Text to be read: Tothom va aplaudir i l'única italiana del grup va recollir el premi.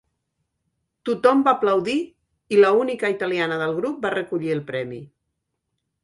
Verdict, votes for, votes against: rejected, 1, 2